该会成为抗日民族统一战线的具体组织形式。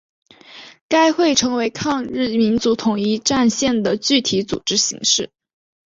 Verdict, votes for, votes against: accepted, 3, 0